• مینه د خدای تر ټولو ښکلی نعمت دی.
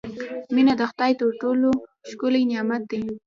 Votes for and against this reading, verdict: 0, 2, rejected